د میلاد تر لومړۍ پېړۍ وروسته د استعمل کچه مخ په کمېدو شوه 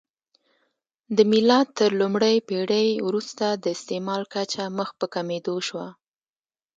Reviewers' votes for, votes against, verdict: 0, 2, rejected